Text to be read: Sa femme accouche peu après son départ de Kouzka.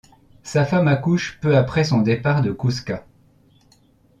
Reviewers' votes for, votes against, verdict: 2, 0, accepted